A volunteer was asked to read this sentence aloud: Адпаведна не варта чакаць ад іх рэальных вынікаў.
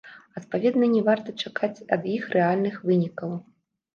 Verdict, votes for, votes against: accepted, 2, 0